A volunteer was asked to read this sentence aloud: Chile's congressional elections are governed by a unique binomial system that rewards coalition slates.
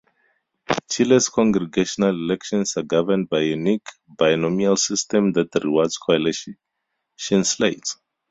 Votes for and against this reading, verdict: 0, 4, rejected